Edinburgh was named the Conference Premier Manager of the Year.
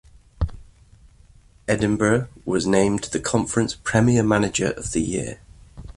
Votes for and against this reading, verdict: 2, 0, accepted